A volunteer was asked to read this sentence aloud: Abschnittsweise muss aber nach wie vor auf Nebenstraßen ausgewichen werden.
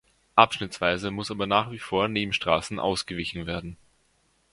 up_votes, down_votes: 0, 2